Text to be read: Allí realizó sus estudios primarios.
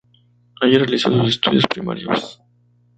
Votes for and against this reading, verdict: 2, 0, accepted